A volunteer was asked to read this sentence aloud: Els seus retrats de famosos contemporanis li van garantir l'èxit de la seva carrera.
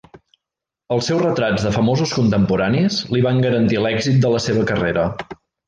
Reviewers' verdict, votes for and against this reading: accepted, 3, 0